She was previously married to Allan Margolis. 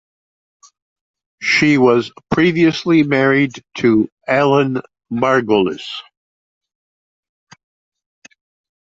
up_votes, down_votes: 2, 0